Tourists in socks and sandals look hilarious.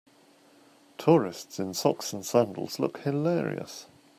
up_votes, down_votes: 2, 0